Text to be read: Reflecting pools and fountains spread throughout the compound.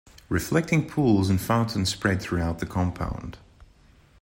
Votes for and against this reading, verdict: 2, 0, accepted